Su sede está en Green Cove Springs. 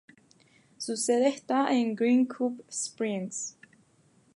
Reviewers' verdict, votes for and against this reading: accepted, 4, 0